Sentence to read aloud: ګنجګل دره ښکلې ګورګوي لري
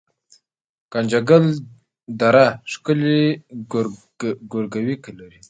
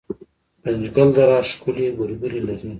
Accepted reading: first